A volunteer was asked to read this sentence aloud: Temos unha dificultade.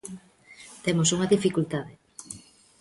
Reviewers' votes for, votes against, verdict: 2, 0, accepted